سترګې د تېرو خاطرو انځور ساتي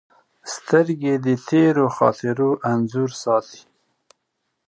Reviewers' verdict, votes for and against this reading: accepted, 2, 0